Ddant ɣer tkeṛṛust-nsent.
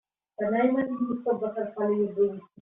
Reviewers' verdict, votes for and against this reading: rejected, 0, 2